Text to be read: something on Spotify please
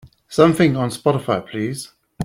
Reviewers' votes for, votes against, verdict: 3, 0, accepted